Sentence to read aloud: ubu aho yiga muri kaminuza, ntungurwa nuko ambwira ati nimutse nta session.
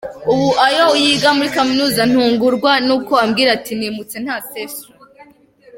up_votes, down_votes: 0, 2